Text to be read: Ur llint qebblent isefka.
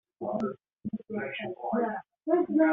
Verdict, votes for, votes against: rejected, 0, 2